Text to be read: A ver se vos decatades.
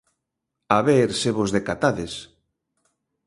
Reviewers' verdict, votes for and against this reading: accepted, 2, 0